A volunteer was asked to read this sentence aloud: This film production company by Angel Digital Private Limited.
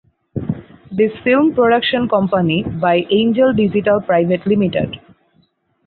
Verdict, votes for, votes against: rejected, 2, 4